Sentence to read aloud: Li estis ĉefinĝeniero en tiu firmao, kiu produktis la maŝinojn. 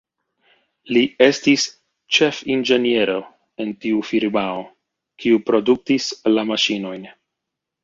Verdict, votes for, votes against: accepted, 2, 0